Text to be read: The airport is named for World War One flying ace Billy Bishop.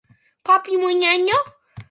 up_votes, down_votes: 0, 2